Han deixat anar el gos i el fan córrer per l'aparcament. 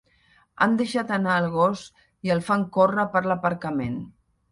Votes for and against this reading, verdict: 3, 0, accepted